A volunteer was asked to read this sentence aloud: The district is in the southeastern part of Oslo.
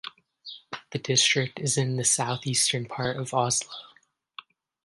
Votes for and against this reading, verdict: 2, 0, accepted